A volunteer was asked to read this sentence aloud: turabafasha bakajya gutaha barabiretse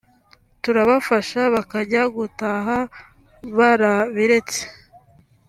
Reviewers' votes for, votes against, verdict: 2, 0, accepted